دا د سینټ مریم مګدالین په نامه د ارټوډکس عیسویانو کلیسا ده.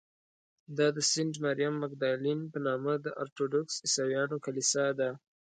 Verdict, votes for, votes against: accepted, 2, 0